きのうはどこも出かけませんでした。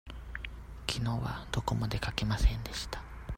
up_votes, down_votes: 2, 0